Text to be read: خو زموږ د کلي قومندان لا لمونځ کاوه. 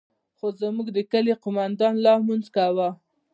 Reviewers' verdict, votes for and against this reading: rejected, 0, 2